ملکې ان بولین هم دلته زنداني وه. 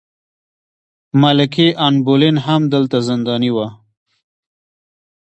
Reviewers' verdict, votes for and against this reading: rejected, 0, 2